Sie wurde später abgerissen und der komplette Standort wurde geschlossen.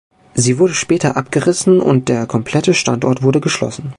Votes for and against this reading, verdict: 3, 0, accepted